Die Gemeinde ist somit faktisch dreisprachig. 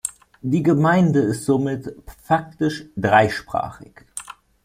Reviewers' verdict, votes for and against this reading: accepted, 2, 0